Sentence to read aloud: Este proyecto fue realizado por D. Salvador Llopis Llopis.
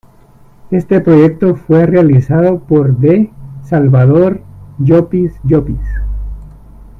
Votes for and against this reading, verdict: 1, 2, rejected